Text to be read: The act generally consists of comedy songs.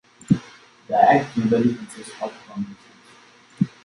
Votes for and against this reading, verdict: 0, 2, rejected